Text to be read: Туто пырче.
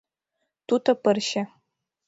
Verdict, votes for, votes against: rejected, 1, 2